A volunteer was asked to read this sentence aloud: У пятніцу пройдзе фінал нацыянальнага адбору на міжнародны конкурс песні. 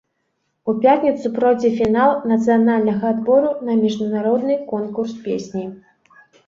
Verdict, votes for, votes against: rejected, 1, 2